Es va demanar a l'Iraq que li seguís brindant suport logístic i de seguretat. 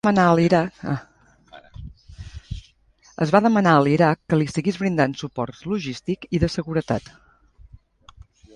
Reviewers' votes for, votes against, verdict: 0, 2, rejected